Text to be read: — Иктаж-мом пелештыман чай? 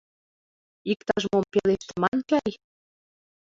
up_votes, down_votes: 1, 2